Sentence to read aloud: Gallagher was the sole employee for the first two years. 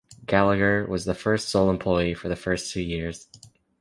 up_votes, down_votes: 0, 2